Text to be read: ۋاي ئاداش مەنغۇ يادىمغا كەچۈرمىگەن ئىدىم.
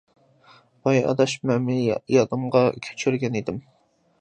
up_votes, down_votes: 0, 2